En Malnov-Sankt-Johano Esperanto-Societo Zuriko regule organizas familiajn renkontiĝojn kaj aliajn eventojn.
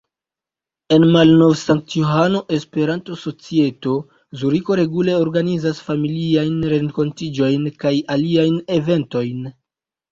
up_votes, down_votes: 2, 3